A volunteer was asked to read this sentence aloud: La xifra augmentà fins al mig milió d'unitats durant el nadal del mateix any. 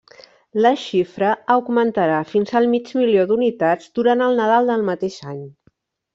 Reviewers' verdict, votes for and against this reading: rejected, 0, 2